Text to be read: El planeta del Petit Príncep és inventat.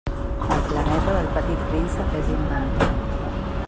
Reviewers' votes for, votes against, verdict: 1, 2, rejected